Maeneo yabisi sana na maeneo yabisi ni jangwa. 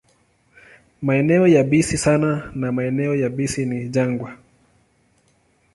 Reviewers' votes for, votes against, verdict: 2, 0, accepted